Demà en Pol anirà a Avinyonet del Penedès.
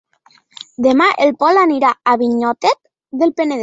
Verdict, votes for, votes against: rejected, 1, 5